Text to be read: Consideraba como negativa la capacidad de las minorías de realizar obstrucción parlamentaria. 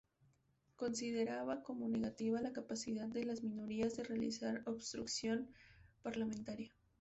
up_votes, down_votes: 2, 2